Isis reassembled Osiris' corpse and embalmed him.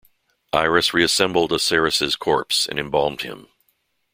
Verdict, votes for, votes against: rejected, 0, 2